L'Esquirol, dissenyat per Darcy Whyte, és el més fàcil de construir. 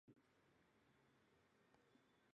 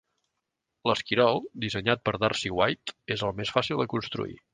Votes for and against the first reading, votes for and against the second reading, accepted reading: 0, 2, 2, 0, second